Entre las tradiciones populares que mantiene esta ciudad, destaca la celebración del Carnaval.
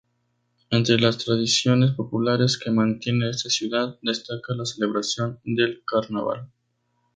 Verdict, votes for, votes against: accepted, 4, 0